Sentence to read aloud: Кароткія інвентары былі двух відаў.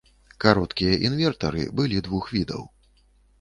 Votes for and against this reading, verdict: 1, 2, rejected